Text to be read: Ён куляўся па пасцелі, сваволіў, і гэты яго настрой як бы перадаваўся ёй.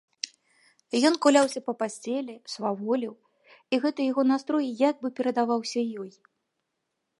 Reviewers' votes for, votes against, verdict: 3, 0, accepted